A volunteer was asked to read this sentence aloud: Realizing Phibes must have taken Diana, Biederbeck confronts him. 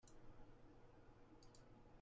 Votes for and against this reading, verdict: 0, 2, rejected